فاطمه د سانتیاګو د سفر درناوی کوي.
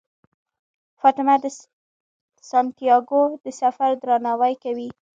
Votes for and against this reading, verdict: 2, 1, accepted